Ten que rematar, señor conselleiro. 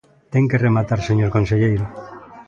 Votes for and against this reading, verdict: 2, 0, accepted